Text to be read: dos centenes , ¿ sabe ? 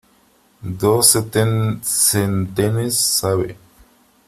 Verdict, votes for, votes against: rejected, 0, 3